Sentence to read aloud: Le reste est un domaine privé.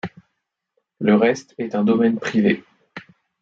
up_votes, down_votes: 2, 0